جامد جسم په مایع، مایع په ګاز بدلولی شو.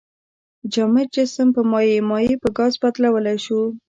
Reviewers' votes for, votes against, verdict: 1, 2, rejected